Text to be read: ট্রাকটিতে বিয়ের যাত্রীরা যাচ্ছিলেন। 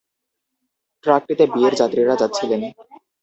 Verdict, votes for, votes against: rejected, 0, 2